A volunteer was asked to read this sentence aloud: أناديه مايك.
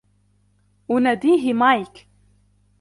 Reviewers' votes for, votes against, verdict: 2, 0, accepted